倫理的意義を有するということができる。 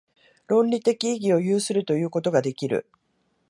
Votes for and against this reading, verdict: 2, 4, rejected